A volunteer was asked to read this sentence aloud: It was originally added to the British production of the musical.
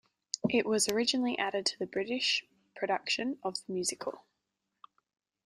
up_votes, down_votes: 1, 2